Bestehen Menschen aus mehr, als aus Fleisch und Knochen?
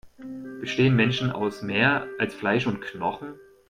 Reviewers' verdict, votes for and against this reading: rejected, 1, 2